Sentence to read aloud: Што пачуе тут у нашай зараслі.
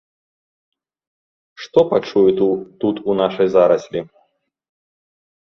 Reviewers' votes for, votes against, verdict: 1, 2, rejected